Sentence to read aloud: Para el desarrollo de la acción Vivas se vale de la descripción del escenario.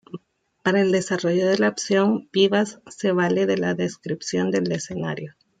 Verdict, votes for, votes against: accepted, 2, 0